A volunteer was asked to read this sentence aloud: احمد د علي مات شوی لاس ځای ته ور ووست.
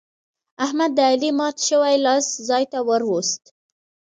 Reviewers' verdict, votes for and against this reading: accepted, 2, 0